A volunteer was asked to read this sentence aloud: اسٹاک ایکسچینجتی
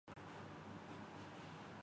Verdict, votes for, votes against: rejected, 1, 5